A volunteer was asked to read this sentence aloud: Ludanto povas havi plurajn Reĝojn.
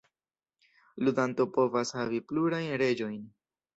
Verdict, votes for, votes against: accepted, 2, 0